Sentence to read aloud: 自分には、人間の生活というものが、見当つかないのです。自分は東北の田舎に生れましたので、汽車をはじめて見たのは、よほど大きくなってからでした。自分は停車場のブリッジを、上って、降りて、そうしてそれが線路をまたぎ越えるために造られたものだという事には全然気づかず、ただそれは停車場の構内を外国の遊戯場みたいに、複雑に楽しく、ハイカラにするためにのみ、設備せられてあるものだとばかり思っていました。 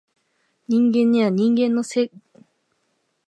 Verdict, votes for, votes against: rejected, 0, 5